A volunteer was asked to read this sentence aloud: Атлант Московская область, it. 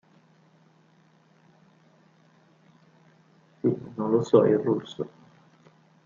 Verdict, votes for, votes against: rejected, 0, 2